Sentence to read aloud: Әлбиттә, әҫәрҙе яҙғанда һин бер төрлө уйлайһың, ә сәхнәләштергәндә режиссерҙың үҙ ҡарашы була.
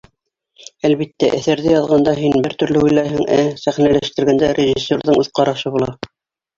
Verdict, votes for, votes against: rejected, 0, 2